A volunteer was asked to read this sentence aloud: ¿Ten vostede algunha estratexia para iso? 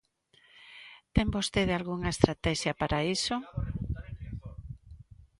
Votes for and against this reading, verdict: 1, 2, rejected